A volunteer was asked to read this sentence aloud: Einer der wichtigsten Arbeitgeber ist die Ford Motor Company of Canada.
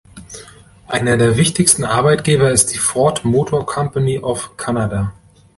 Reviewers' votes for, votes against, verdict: 2, 0, accepted